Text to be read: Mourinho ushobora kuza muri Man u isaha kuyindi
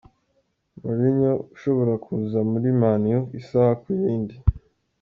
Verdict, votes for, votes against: accepted, 2, 0